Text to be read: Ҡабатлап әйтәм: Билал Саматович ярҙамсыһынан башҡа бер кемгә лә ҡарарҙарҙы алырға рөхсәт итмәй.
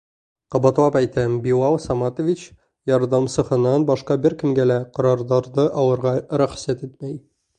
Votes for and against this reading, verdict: 0, 2, rejected